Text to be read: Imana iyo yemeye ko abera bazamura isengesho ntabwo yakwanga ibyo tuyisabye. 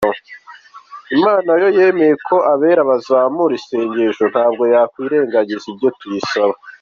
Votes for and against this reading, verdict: 2, 0, accepted